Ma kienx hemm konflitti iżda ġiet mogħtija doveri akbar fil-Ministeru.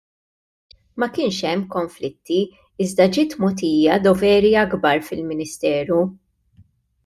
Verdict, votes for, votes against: accepted, 2, 0